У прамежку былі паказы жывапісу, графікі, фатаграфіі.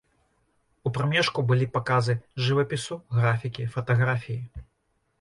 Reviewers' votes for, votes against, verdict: 2, 0, accepted